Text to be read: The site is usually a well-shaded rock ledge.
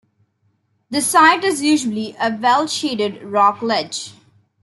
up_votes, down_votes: 2, 0